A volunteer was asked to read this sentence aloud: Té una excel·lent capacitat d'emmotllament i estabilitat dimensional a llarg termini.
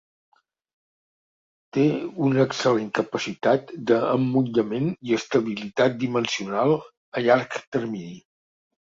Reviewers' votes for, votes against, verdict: 1, 2, rejected